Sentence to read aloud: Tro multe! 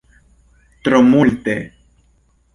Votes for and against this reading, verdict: 2, 0, accepted